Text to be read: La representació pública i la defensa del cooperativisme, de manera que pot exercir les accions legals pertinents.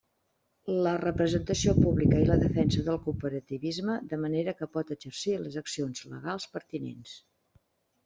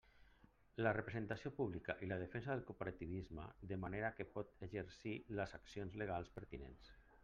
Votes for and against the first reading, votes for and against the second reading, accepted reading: 3, 0, 1, 2, first